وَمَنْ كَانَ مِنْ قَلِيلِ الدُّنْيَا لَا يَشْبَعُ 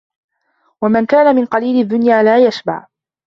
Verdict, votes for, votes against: accepted, 2, 0